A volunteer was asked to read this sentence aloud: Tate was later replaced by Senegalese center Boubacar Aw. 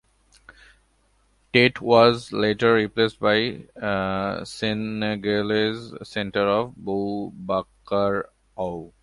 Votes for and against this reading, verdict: 0, 2, rejected